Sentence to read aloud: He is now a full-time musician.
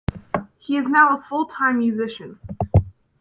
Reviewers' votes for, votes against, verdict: 2, 0, accepted